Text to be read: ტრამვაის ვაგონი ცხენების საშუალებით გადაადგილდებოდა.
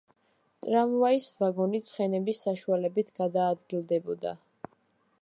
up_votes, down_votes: 2, 0